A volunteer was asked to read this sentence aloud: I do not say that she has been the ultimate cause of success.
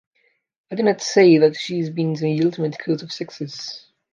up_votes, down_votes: 1, 2